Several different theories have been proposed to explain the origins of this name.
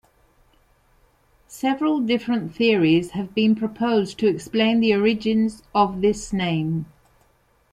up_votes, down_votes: 2, 0